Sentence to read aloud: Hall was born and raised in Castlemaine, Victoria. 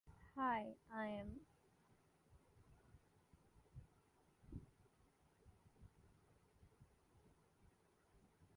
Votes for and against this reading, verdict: 0, 2, rejected